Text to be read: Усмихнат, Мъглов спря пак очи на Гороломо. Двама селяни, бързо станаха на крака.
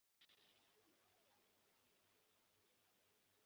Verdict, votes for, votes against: rejected, 0, 2